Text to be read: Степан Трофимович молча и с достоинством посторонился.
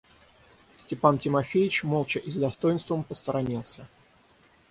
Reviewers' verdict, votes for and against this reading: rejected, 3, 6